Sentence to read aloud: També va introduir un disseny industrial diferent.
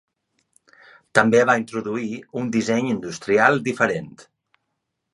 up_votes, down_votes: 2, 0